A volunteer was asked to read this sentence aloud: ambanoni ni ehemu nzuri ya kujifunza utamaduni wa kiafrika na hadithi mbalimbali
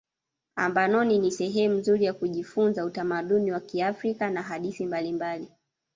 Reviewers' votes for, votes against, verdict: 0, 2, rejected